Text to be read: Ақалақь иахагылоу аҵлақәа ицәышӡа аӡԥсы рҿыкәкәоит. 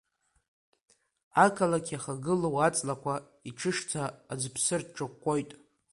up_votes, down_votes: 1, 2